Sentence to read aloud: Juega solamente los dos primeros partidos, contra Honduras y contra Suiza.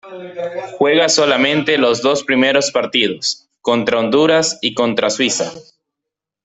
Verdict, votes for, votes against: accepted, 2, 0